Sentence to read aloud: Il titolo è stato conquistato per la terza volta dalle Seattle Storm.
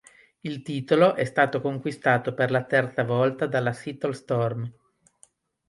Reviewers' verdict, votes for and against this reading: rejected, 1, 2